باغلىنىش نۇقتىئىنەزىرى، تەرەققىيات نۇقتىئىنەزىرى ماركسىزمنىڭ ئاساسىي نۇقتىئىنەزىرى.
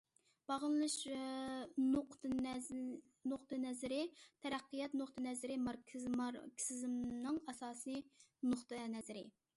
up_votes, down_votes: 0, 2